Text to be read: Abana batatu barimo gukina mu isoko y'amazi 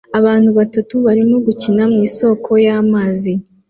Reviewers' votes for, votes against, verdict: 1, 2, rejected